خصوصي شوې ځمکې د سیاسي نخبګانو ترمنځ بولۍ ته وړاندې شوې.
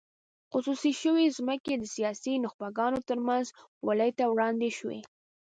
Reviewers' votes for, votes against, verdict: 2, 0, accepted